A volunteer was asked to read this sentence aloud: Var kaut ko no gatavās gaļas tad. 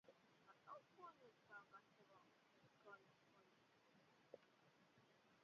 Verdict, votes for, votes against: rejected, 0, 8